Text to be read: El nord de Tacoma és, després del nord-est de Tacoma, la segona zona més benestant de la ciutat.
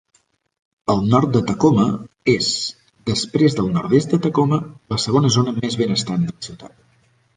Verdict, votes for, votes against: rejected, 1, 2